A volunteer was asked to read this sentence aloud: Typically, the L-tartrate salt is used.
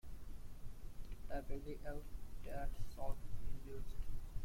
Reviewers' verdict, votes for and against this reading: rejected, 1, 2